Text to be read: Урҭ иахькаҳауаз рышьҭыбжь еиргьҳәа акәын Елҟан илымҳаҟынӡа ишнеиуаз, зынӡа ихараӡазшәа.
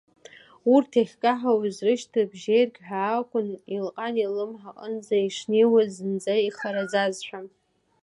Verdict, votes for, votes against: rejected, 0, 2